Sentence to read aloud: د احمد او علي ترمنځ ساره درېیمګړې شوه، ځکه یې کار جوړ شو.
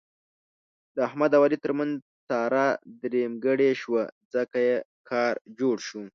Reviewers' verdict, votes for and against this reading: accepted, 8, 0